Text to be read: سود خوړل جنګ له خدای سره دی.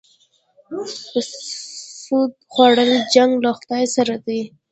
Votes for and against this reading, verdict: 1, 2, rejected